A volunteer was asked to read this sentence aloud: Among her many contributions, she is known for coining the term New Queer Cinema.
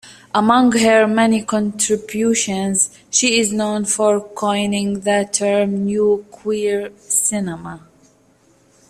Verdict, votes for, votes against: accepted, 2, 1